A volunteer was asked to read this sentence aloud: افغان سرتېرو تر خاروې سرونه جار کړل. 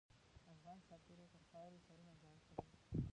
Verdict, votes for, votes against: rejected, 0, 2